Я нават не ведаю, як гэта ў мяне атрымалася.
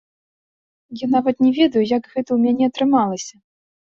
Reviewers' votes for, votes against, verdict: 2, 0, accepted